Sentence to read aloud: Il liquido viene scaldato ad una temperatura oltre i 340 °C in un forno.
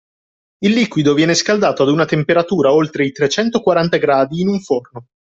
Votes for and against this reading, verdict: 0, 2, rejected